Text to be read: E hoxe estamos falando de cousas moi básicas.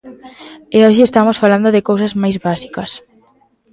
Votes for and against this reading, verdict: 0, 2, rejected